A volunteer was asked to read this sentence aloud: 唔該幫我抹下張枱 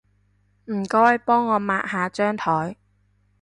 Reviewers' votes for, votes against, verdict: 2, 0, accepted